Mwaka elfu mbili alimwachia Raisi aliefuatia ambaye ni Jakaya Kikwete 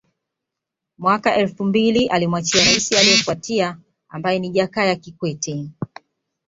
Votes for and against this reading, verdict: 2, 0, accepted